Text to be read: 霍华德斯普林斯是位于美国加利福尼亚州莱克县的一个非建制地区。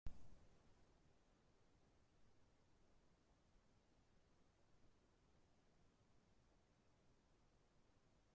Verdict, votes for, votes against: rejected, 0, 2